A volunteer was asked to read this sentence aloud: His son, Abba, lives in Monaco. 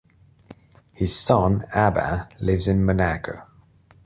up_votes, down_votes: 2, 0